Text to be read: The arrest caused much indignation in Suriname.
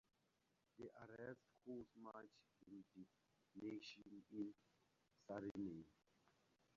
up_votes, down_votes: 2, 2